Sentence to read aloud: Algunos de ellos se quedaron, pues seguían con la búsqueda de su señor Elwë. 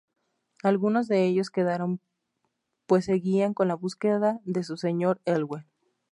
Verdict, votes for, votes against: rejected, 0, 2